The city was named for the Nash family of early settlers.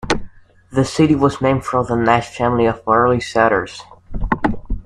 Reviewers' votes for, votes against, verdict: 1, 2, rejected